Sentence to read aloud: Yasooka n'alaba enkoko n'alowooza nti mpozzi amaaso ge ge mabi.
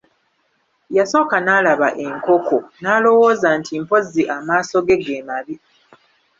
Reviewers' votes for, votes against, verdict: 2, 1, accepted